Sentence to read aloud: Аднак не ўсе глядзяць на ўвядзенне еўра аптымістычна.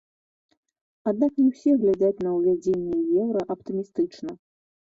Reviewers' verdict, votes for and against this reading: accepted, 2, 0